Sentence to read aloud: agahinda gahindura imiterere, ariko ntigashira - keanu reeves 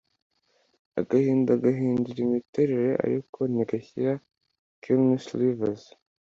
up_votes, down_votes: 2, 0